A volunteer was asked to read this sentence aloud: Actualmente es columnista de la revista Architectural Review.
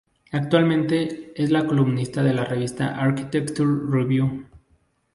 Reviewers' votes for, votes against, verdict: 0, 2, rejected